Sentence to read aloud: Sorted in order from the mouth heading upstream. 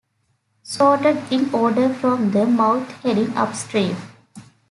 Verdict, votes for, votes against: accepted, 2, 0